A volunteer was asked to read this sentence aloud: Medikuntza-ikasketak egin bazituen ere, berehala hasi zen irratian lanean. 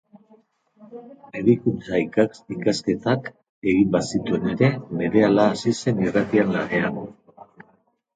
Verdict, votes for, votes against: rejected, 0, 2